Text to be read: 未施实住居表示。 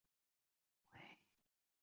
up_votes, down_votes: 1, 5